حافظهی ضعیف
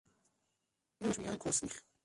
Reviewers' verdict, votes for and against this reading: rejected, 0, 3